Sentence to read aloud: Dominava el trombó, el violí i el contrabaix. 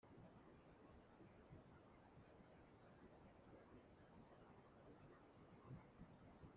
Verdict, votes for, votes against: rejected, 0, 2